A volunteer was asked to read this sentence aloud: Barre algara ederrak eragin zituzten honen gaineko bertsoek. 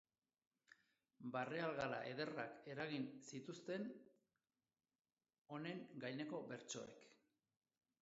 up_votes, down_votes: 1, 2